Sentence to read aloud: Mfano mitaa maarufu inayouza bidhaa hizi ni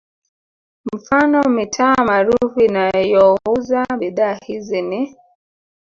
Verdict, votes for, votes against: rejected, 1, 2